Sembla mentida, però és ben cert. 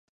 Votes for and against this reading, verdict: 1, 2, rejected